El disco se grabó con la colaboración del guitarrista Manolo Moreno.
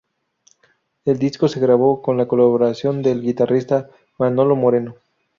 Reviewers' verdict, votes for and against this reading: rejected, 0, 2